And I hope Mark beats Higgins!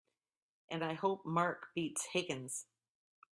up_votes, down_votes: 2, 0